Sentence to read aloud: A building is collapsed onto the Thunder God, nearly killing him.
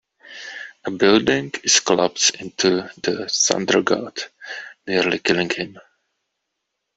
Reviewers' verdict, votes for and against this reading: accepted, 2, 0